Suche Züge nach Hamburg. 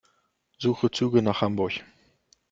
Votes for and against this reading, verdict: 2, 0, accepted